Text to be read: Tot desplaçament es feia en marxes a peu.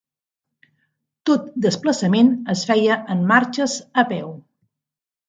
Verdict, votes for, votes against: accepted, 3, 0